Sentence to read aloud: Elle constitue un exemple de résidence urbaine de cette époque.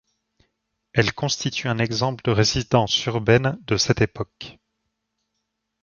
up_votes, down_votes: 2, 1